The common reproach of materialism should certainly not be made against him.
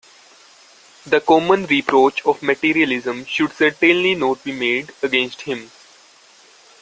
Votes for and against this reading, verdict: 2, 0, accepted